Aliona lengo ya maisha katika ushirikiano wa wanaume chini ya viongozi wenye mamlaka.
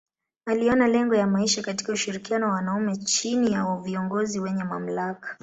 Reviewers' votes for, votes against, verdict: 2, 0, accepted